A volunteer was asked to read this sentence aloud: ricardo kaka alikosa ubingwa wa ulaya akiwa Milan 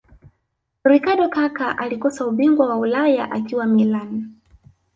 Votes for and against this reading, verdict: 1, 2, rejected